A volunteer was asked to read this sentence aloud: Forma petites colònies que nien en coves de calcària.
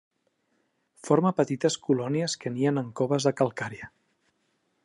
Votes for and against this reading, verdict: 2, 0, accepted